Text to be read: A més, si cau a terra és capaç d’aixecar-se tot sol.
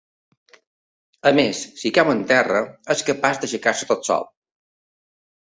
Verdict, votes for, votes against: rejected, 1, 2